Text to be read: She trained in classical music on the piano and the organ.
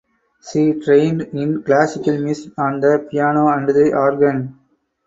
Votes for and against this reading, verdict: 2, 2, rejected